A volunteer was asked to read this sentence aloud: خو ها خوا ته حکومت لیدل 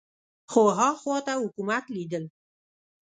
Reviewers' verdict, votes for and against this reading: accepted, 3, 0